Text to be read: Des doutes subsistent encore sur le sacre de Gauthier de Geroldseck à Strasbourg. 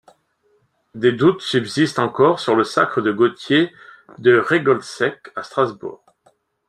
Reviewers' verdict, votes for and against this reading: rejected, 1, 2